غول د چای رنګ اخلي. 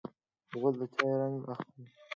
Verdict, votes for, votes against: accepted, 2, 0